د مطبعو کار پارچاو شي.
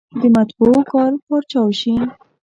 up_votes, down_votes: 1, 2